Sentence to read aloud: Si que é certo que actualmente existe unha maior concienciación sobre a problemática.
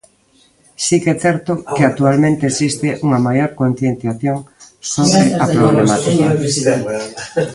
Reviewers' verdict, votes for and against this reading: rejected, 0, 2